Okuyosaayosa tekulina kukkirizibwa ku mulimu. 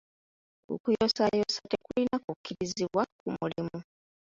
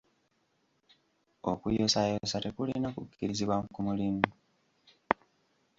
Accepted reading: first